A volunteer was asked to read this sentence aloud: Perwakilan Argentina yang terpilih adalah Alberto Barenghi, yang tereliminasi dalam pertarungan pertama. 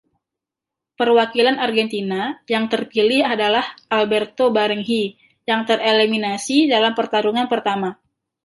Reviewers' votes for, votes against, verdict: 0, 2, rejected